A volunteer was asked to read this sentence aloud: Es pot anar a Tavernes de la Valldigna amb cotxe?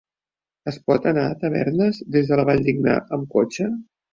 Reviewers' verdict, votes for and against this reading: rejected, 1, 2